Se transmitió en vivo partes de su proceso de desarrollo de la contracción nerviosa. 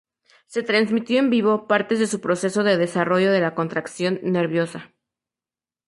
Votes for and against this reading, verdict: 0, 2, rejected